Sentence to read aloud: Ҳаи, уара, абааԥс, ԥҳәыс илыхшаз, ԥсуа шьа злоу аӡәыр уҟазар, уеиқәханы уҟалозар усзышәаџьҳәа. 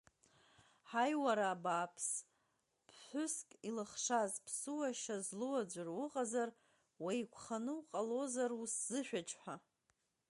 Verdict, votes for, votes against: accepted, 2, 0